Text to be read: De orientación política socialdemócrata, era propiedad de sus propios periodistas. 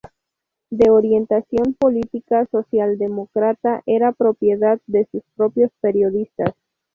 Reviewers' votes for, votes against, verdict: 2, 2, rejected